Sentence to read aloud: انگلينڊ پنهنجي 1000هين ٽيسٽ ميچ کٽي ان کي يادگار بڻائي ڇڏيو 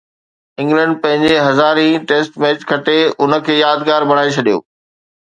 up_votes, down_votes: 0, 2